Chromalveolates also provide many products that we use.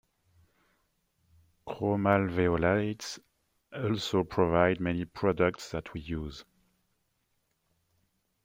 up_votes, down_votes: 1, 2